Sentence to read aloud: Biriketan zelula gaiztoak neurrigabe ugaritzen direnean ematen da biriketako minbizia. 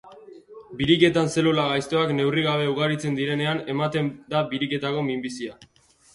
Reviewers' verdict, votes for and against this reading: accepted, 3, 0